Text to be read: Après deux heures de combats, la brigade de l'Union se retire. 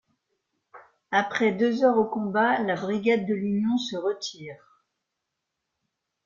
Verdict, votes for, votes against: rejected, 0, 2